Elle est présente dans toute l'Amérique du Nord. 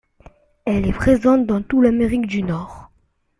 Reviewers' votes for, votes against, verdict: 0, 2, rejected